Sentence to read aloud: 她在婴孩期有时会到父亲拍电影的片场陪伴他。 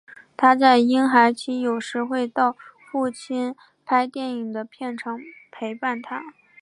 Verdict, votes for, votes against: accepted, 3, 0